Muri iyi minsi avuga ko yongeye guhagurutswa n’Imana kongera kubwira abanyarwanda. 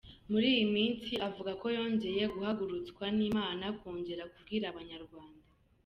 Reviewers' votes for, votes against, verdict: 2, 1, accepted